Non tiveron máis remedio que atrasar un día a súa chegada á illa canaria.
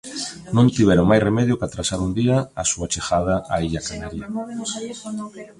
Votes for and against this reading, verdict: 2, 1, accepted